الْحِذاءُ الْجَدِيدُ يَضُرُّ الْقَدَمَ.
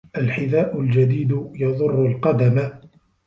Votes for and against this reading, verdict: 1, 2, rejected